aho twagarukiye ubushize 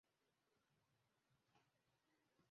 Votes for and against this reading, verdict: 0, 2, rejected